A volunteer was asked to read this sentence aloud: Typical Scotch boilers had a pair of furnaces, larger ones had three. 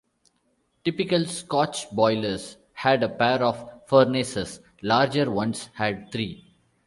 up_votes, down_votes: 3, 1